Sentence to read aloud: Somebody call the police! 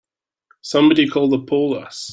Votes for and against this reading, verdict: 0, 3, rejected